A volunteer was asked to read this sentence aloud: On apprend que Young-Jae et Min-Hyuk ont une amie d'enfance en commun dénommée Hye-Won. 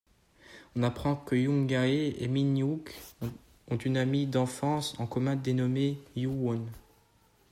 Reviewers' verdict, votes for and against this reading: rejected, 1, 2